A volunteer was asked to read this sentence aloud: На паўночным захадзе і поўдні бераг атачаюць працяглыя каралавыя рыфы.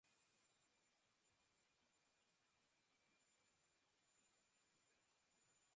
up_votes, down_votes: 0, 2